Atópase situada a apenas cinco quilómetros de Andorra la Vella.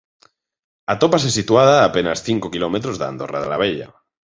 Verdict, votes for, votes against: rejected, 1, 2